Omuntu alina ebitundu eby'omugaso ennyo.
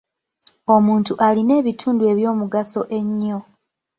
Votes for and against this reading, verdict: 2, 0, accepted